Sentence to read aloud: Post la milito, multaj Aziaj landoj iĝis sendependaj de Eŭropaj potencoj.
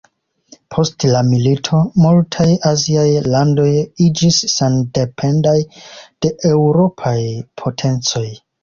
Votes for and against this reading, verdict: 3, 0, accepted